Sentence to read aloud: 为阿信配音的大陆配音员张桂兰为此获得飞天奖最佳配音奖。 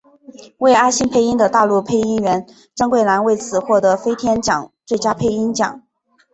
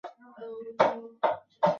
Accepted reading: first